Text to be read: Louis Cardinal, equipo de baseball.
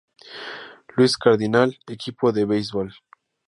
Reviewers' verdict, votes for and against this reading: accepted, 2, 0